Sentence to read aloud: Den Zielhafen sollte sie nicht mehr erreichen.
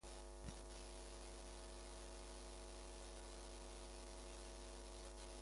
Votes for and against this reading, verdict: 0, 2, rejected